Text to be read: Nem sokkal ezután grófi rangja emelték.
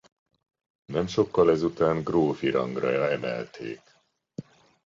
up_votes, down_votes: 0, 2